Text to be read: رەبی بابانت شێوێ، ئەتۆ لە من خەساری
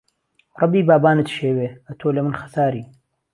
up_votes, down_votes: 2, 0